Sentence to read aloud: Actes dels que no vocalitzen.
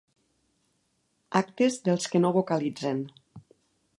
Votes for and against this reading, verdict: 3, 0, accepted